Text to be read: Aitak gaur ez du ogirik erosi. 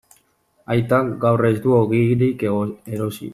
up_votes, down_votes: 0, 2